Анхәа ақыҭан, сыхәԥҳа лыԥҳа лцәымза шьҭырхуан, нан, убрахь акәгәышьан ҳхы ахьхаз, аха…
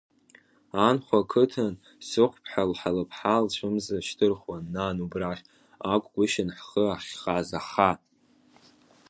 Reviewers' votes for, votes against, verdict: 2, 1, accepted